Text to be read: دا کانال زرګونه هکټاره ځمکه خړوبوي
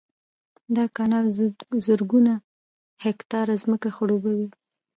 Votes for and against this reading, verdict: 1, 2, rejected